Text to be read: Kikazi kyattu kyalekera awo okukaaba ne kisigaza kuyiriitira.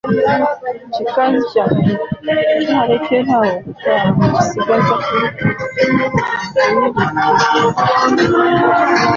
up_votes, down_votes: 1, 2